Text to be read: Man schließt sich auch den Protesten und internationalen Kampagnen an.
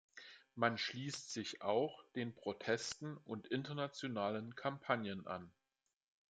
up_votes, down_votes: 2, 0